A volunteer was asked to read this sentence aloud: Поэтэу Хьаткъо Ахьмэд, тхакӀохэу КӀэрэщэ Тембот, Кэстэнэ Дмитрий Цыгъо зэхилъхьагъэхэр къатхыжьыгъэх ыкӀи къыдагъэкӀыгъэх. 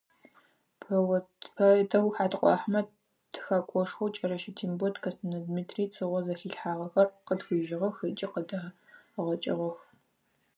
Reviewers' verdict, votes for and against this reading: rejected, 2, 4